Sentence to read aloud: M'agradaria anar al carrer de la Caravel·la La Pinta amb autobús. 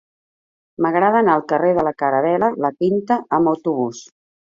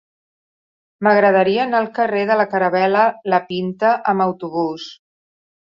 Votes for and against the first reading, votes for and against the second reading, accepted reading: 0, 2, 2, 0, second